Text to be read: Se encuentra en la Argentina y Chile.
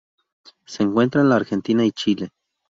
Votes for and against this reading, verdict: 0, 2, rejected